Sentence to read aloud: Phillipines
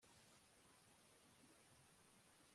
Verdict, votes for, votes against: rejected, 0, 2